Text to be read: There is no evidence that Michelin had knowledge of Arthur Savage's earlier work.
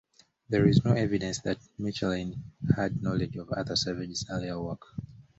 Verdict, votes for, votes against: accepted, 2, 0